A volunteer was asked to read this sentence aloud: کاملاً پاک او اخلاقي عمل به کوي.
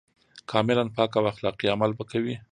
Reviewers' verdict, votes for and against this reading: accepted, 2, 0